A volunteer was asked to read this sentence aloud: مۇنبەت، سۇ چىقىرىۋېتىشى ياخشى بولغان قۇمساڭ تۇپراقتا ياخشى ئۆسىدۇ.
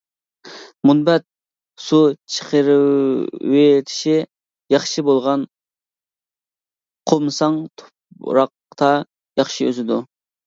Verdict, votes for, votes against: rejected, 0, 2